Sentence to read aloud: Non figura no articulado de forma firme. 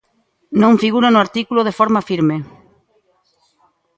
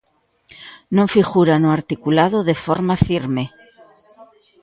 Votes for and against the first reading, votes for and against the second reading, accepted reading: 0, 2, 2, 0, second